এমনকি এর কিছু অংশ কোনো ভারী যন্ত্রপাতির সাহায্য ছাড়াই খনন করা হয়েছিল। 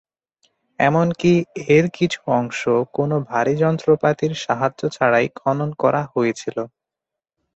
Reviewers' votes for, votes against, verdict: 4, 0, accepted